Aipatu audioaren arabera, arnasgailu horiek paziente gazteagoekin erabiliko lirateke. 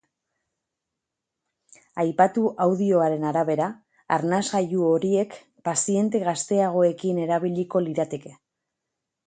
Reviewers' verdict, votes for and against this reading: accepted, 2, 0